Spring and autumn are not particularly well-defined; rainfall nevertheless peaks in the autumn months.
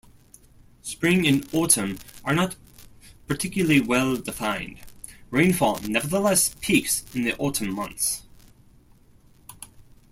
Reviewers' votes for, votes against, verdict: 2, 0, accepted